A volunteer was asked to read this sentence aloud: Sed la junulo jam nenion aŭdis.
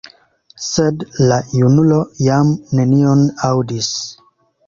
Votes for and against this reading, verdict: 2, 0, accepted